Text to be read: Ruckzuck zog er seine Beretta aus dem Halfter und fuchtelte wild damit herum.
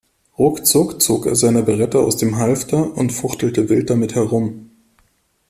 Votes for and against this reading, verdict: 2, 0, accepted